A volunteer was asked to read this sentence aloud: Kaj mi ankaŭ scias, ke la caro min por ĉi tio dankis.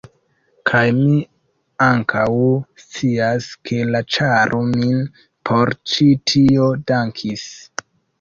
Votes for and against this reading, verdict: 0, 2, rejected